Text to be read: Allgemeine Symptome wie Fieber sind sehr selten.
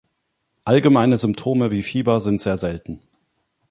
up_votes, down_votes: 2, 0